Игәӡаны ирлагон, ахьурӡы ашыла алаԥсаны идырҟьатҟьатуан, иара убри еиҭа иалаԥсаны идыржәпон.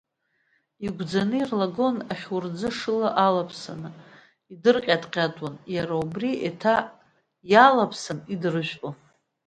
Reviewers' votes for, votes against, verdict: 2, 0, accepted